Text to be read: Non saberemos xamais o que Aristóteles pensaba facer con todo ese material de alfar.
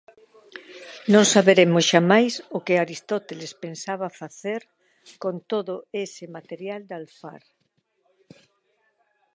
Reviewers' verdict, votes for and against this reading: rejected, 0, 2